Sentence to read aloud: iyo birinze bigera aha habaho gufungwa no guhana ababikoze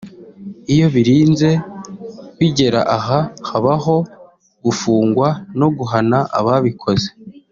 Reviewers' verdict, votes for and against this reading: accepted, 2, 0